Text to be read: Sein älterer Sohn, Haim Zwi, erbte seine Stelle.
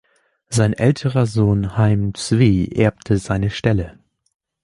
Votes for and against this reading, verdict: 2, 0, accepted